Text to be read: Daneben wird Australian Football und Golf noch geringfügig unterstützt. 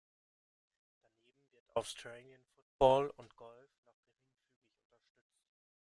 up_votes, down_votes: 1, 2